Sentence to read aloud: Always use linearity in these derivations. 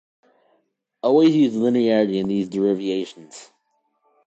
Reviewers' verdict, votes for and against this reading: rejected, 1, 2